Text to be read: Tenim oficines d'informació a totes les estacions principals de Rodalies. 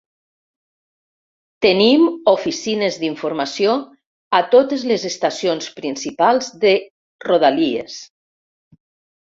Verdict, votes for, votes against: accepted, 2, 0